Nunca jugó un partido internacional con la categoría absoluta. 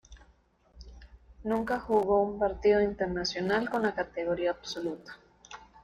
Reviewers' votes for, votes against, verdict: 1, 2, rejected